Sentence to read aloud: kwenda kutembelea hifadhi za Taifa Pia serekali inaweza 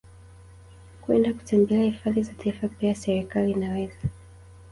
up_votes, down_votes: 2, 1